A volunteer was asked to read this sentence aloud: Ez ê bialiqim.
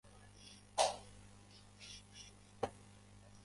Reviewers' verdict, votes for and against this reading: rejected, 0, 2